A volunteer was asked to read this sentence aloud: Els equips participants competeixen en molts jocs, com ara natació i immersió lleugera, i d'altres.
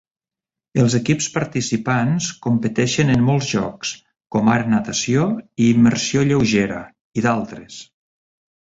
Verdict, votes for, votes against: accepted, 2, 0